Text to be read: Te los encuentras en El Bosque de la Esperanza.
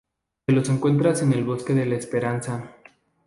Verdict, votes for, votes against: accepted, 2, 0